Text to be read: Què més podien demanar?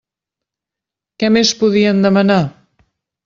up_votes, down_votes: 3, 0